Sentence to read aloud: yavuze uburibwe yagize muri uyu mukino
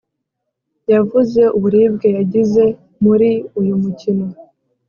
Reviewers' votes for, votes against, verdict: 3, 1, accepted